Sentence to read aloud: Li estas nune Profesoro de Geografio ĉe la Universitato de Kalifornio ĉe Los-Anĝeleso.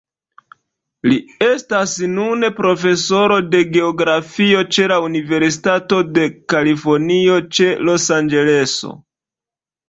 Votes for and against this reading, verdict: 2, 1, accepted